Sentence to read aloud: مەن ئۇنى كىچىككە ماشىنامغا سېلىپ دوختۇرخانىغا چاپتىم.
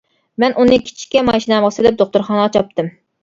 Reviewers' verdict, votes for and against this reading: accepted, 3, 0